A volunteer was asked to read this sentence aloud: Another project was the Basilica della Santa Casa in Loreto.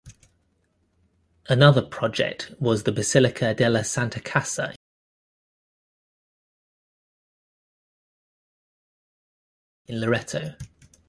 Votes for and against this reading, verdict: 0, 3, rejected